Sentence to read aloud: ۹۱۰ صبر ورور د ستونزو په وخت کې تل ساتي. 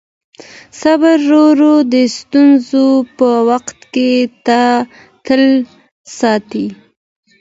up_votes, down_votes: 0, 2